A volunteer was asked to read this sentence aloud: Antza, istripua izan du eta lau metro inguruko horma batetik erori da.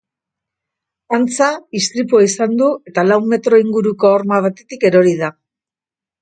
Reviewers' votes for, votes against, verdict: 2, 0, accepted